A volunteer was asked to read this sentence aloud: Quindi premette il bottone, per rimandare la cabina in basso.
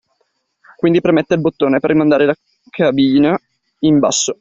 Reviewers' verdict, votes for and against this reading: rejected, 0, 2